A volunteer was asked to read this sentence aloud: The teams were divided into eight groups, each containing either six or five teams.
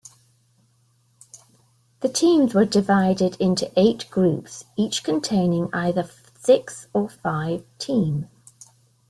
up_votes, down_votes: 0, 2